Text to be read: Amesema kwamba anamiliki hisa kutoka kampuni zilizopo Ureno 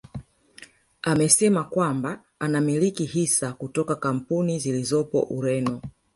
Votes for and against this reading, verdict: 0, 2, rejected